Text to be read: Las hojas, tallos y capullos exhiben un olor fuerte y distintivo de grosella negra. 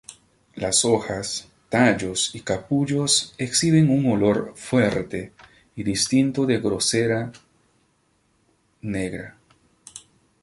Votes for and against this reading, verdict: 0, 2, rejected